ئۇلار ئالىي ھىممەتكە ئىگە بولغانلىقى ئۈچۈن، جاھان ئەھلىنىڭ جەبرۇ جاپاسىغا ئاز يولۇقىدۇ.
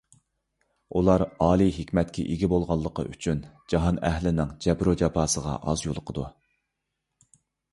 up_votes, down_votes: 1, 2